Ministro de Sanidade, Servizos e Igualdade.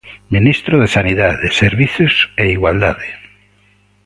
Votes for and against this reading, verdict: 2, 0, accepted